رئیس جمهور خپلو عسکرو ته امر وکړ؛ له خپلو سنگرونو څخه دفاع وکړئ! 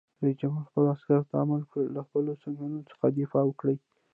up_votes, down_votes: 2, 0